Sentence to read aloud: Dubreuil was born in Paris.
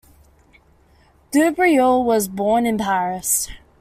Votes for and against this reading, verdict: 2, 0, accepted